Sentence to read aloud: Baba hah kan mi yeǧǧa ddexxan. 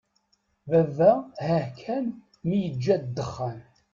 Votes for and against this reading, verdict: 1, 2, rejected